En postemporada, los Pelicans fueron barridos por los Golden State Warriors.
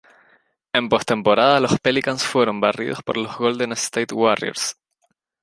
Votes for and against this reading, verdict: 2, 0, accepted